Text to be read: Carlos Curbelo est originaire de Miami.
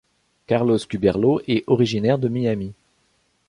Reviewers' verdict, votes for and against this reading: rejected, 0, 2